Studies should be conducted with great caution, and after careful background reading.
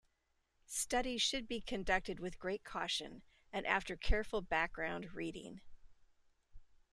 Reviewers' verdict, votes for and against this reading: accepted, 2, 0